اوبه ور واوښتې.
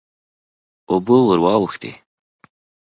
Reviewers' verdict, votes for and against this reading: accepted, 2, 0